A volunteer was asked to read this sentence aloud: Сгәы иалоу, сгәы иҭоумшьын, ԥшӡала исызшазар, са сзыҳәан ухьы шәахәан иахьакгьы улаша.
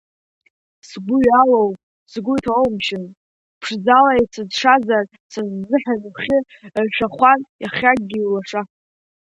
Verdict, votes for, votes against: rejected, 1, 2